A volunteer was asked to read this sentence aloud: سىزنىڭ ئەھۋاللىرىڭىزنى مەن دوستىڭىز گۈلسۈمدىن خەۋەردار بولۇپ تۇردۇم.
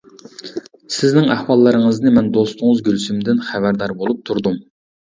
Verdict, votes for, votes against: accepted, 2, 0